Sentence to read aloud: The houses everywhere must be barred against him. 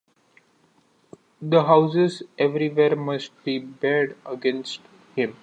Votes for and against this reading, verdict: 2, 1, accepted